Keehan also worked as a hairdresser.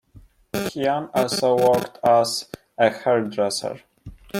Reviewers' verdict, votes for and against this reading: rejected, 1, 2